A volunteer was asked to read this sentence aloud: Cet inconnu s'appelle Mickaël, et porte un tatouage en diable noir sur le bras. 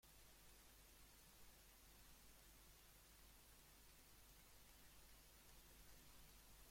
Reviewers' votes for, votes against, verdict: 0, 2, rejected